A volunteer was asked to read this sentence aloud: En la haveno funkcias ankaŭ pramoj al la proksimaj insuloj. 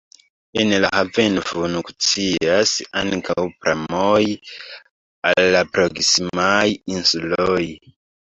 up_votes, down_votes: 0, 2